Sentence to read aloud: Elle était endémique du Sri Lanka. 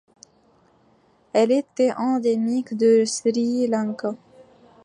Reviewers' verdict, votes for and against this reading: rejected, 0, 2